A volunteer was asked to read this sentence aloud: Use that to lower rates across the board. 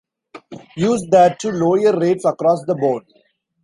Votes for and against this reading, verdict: 2, 3, rejected